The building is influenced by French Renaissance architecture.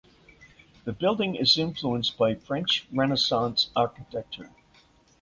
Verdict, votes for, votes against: accepted, 2, 0